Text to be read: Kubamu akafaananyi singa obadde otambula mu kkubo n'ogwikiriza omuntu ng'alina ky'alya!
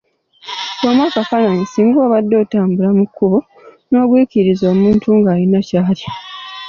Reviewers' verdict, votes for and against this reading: rejected, 0, 2